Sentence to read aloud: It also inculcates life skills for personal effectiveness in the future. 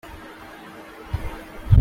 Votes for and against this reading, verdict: 0, 2, rejected